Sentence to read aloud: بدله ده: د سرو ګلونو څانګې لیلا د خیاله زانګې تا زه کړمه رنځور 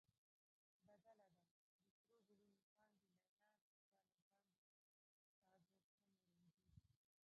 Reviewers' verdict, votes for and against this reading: rejected, 0, 2